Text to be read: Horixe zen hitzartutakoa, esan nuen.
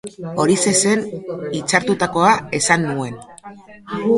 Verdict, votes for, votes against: accepted, 2, 0